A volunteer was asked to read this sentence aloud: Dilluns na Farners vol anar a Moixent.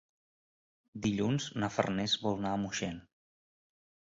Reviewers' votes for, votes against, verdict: 2, 3, rejected